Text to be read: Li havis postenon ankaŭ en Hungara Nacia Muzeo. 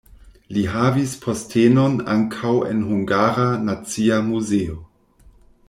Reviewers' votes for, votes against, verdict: 2, 0, accepted